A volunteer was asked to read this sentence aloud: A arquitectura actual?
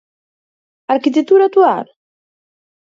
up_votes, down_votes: 4, 0